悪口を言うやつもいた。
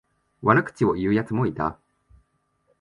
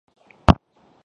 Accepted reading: first